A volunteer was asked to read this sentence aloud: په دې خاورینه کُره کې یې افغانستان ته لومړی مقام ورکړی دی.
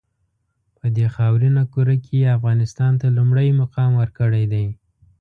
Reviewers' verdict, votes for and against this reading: accepted, 2, 0